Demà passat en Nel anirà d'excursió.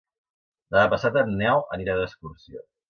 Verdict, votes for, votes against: accepted, 2, 0